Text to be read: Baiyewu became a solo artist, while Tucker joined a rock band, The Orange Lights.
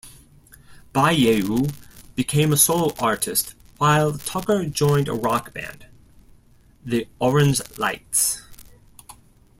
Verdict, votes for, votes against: rejected, 1, 2